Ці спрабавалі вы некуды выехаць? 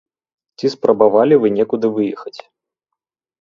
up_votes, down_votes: 3, 0